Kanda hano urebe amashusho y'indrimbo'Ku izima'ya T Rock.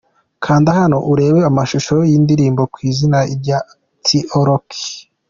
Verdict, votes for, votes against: accepted, 2, 0